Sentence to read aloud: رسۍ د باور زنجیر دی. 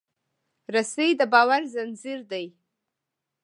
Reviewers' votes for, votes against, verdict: 2, 1, accepted